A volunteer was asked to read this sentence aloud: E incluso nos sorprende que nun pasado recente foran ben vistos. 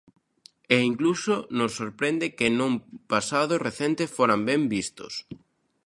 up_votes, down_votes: 2, 1